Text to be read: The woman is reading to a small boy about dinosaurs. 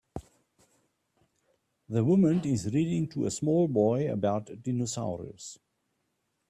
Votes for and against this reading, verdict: 1, 2, rejected